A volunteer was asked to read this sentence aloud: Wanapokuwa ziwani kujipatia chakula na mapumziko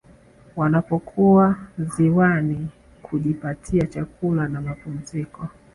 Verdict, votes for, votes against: accepted, 2, 1